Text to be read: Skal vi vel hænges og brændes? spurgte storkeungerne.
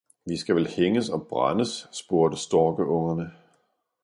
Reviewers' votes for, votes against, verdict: 0, 2, rejected